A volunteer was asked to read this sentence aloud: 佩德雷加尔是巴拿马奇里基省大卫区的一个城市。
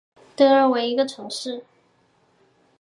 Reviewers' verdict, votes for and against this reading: rejected, 1, 2